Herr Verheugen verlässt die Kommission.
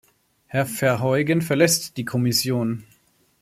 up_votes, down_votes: 2, 0